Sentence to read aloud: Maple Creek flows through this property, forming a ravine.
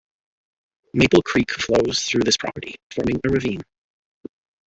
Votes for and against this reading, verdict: 0, 2, rejected